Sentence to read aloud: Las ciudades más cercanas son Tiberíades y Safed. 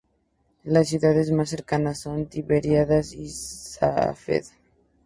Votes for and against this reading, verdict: 0, 2, rejected